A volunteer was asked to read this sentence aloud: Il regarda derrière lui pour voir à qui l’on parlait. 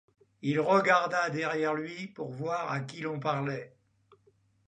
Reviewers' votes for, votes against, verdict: 2, 0, accepted